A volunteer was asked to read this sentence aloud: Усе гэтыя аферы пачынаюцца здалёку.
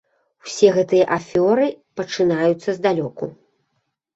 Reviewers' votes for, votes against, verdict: 0, 2, rejected